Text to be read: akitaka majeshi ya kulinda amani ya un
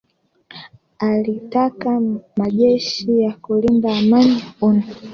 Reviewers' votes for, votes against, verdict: 1, 2, rejected